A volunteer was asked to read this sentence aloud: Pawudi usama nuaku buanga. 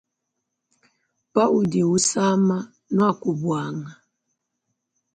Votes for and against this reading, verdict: 2, 0, accepted